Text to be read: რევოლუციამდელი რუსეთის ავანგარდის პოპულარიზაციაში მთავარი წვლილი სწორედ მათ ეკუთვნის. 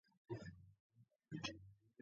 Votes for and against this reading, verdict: 0, 2, rejected